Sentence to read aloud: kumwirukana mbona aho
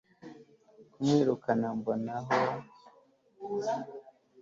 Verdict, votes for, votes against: accepted, 2, 0